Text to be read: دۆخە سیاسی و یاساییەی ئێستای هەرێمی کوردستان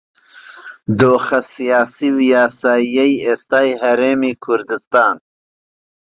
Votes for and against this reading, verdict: 2, 0, accepted